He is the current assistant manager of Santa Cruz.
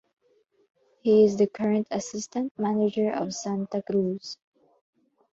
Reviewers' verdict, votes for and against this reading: accepted, 4, 0